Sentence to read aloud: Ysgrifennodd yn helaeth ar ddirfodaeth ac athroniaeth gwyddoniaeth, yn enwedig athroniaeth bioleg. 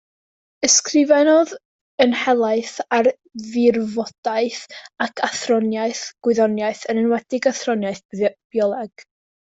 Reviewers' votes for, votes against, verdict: 0, 2, rejected